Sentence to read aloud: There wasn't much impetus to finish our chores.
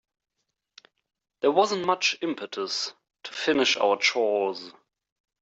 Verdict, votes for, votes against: accepted, 3, 0